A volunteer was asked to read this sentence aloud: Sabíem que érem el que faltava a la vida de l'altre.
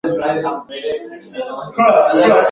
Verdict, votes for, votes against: rejected, 0, 2